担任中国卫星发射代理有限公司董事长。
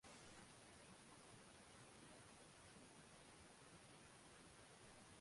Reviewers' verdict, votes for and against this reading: rejected, 0, 5